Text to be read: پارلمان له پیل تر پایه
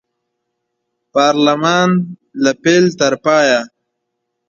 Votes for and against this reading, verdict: 2, 0, accepted